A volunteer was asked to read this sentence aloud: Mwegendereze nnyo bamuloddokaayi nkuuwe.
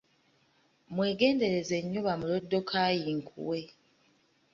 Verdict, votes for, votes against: rejected, 1, 2